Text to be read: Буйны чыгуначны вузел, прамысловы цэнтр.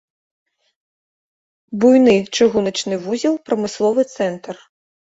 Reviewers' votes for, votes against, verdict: 3, 0, accepted